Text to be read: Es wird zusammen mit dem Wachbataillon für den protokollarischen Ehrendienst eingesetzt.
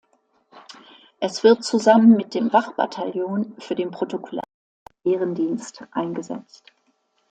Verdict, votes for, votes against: rejected, 0, 2